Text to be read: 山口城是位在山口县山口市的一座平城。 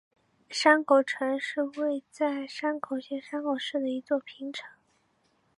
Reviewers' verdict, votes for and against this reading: accepted, 5, 0